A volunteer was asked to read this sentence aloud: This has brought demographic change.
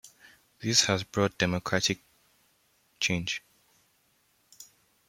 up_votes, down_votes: 1, 2